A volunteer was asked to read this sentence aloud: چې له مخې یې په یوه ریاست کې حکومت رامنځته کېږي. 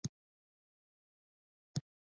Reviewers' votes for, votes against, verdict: 1, 2, rejected